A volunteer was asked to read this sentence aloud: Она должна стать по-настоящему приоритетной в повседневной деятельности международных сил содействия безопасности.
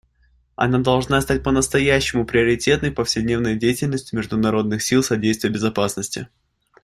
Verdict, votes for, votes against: accepted, 2, 0